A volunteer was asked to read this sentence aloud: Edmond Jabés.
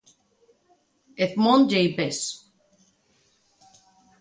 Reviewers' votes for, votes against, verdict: 2, 0, accepted